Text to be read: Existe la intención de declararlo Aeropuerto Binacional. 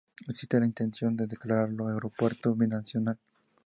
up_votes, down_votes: 2, 0